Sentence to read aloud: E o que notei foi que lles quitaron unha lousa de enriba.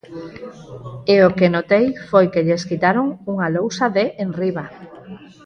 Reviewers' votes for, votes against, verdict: 2, 4, rejected